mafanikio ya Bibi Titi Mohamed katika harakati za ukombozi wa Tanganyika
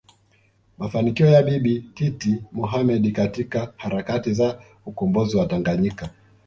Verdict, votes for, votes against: accepted, 2, 0